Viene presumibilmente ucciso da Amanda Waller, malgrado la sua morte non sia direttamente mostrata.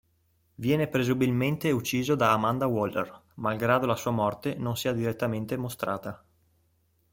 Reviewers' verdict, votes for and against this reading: rejected, 1, 3